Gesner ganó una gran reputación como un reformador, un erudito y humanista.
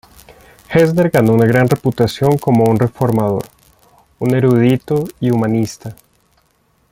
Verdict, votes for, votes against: rejected, 1, 2